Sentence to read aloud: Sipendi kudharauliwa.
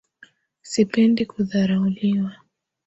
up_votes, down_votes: 2, 0